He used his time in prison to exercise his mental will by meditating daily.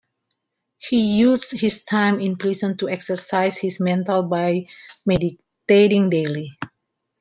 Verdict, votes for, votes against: rejected, 0, 2